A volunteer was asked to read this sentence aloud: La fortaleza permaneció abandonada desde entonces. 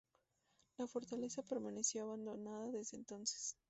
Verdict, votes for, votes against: accepted, 2, 0